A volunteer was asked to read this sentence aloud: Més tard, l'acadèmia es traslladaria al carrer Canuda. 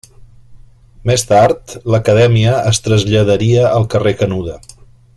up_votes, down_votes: 2, 0